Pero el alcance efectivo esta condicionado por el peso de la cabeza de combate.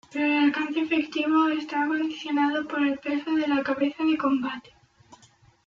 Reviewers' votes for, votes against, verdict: 1, 2, rejected